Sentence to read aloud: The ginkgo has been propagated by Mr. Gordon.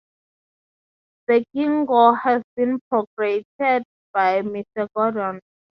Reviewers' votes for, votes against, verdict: 3, 0, accepted